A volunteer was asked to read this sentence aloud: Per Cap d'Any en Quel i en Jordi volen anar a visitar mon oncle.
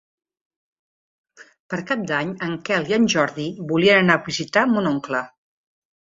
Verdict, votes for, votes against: rejected, 0, 2